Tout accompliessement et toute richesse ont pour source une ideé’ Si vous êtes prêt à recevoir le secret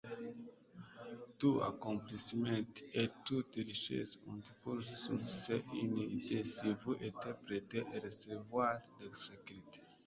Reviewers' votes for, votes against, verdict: 1, 2, rejected